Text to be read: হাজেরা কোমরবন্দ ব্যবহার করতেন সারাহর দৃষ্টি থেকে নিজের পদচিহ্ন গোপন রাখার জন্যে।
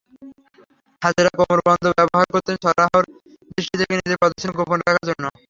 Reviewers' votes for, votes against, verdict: 0, 3, rejected